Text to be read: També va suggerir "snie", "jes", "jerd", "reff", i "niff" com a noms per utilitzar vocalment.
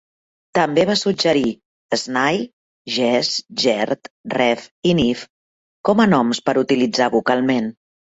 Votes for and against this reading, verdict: 2, 0, accepted